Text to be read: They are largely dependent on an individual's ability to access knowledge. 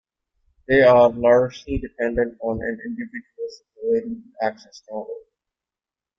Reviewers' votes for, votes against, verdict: 2, 0, accepted